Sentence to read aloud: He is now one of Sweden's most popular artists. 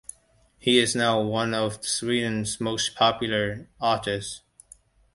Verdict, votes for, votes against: accepted, 2, 0